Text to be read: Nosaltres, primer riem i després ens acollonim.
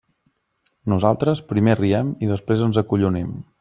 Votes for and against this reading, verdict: 2, 1, accepted